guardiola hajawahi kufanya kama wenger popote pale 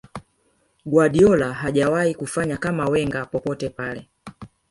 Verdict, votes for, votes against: accepted, 2, 1